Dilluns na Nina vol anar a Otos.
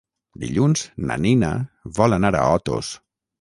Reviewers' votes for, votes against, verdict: 3, 0, accepted